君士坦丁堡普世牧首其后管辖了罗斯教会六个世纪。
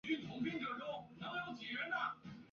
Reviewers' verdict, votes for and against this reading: rejected, 1, 4